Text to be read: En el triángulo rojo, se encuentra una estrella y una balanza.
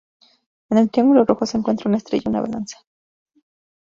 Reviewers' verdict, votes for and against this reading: rejected, 0, 2